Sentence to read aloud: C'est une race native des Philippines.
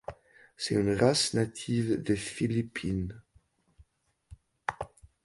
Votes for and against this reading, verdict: 2, 0, accepted